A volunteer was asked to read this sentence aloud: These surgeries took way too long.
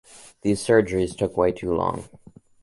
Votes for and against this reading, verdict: 2, 0, accepted